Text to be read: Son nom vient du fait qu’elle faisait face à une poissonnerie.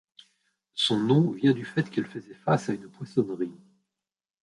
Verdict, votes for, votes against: rejected, 1, 2